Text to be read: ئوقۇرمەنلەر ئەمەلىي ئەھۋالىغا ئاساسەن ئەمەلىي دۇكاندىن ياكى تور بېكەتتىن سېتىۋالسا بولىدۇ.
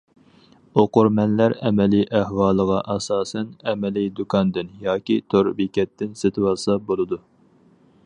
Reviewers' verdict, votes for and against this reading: accepted, 4, 0